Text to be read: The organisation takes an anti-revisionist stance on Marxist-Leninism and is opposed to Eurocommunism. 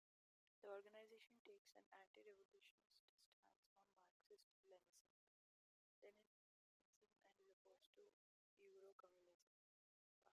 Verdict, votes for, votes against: rejected, 0, 2